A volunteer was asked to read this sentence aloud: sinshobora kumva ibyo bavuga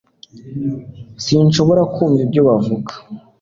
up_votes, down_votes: 2, 0